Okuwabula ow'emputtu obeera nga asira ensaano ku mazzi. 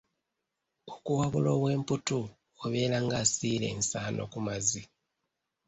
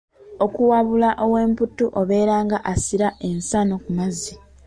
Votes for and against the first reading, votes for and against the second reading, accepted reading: 0, 2, 2, 1, second